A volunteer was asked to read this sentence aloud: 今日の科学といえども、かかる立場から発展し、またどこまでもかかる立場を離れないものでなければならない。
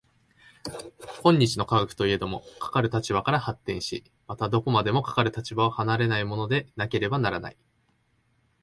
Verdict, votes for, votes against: accepted, 2, 1